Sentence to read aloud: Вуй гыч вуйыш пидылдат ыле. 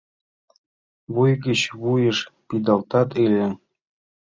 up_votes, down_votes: 1, 2